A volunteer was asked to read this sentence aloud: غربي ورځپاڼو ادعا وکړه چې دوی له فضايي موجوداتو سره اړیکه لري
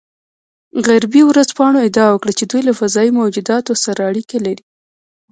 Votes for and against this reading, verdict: 0, 2, rejected